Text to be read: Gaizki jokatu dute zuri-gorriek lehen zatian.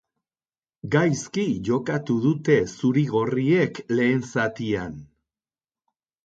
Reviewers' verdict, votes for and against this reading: rejected, 0, 2